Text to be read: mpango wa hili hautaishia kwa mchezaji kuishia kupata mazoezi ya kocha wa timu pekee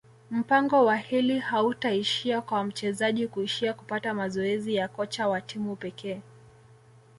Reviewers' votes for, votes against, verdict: 2, 0, accepted